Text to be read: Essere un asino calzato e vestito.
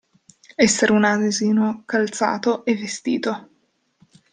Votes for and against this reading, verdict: 0, 2, rejected